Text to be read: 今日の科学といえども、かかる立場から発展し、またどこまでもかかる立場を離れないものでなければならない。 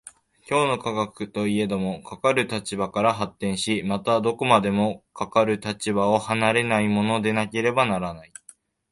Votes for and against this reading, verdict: 2, 0, accepted